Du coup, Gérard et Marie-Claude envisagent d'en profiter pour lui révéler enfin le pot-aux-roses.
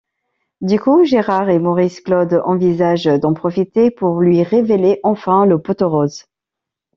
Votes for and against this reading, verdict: 1, 2, rejected